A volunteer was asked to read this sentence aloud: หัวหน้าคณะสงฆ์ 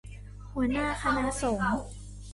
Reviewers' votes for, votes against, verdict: 2, 1, accepted